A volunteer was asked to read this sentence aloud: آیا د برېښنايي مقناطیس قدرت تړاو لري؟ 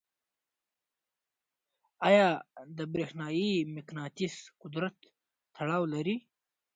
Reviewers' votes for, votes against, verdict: 2, 0, accepted